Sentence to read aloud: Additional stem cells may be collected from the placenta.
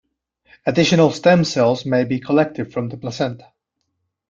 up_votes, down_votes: 2, 0